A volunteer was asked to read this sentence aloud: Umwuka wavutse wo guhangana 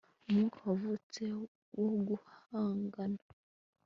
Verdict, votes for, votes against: rejected, 1, 2